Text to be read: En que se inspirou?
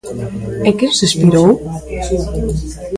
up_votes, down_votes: 0, 2